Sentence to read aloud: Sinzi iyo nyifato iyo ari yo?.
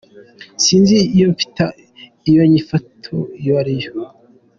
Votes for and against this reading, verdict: 0, 2, rejected